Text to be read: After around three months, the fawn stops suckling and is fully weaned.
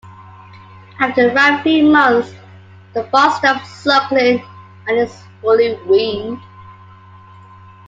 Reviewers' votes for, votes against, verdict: 2, 0, accepted